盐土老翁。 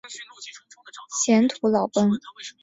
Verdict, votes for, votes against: rejected, 1, 2